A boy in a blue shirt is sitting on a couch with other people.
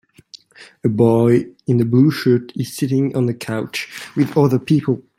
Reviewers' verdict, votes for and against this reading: accepted, 2, 0